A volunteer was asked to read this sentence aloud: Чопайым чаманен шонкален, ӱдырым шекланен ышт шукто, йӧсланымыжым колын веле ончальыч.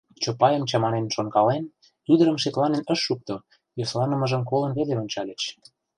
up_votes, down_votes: 0, 2